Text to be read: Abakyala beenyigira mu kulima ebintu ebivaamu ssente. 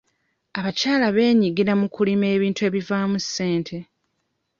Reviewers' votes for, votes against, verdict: 2, 0, accepted